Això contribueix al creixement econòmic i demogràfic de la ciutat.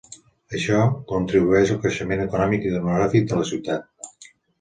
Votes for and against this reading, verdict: 2, 0, accepted